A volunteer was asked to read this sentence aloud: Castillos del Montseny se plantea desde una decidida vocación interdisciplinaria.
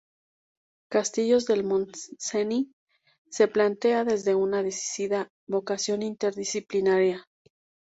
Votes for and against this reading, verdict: 2, 2, rejected